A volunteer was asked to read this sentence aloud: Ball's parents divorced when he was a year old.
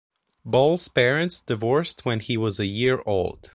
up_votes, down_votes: 2, 0